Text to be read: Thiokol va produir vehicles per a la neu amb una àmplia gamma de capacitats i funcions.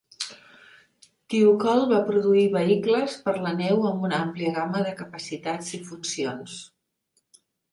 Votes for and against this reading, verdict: 5, 3, accepted